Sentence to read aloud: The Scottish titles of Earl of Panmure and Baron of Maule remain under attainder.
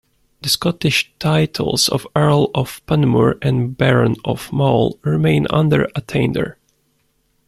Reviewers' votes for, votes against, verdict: 1, 2, rejected